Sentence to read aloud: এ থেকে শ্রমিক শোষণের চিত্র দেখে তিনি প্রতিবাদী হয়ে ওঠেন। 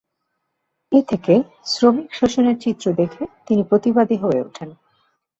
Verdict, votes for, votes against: accepted, 26, 1